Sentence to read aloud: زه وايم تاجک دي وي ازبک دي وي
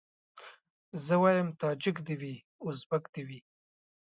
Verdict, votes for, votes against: accepted, 2, 0